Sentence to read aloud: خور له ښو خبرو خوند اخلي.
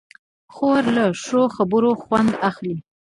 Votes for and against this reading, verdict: 0, 2, rejected